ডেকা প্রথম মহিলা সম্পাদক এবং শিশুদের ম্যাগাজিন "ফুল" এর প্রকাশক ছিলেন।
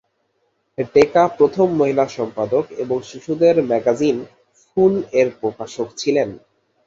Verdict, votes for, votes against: accepted, 3, 0